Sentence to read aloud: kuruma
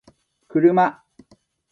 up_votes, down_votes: 0, 2